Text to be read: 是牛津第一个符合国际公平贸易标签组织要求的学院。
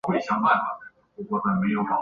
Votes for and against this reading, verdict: 0, 5, rejected